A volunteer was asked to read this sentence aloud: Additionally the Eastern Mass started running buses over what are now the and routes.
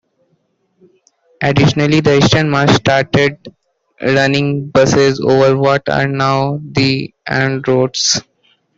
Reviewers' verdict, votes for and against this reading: accepted, 2, 1